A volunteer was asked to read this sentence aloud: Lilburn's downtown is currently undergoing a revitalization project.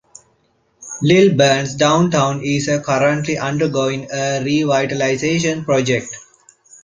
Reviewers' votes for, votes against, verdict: 2, 0, accepted